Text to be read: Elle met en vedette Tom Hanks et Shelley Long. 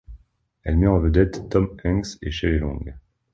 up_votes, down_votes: 2, 0